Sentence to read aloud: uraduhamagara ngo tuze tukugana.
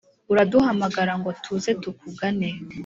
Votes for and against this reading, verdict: 3, 0, accepted